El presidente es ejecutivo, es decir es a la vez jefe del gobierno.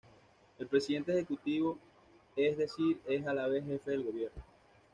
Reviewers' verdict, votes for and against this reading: rejected, 1, 2